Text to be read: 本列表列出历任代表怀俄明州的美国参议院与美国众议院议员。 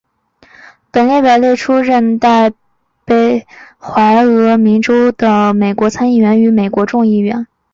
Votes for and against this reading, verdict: 4, 5, rejected